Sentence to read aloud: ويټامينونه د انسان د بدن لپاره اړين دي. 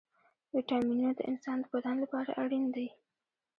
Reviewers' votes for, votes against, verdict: 0, 2, rejected